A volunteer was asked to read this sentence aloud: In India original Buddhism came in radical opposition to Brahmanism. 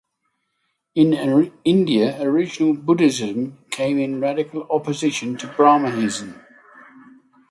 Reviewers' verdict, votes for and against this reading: rejected, 3, 3